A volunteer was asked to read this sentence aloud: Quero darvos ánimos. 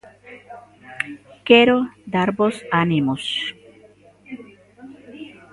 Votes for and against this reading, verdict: 1, 2, rejected